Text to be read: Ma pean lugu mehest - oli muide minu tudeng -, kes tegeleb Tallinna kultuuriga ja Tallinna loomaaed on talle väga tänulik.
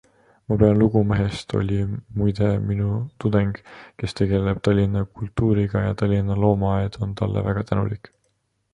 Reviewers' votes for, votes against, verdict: 2, 1, accepted